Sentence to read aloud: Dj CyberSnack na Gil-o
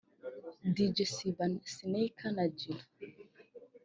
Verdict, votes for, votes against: rejected, 0, 2